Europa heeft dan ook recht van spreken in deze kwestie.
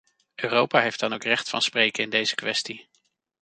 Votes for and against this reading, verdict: 2, 0, accepted